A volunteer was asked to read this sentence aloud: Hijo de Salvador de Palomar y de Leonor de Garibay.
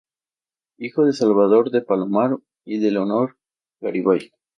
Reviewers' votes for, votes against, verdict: 2, 0, accepted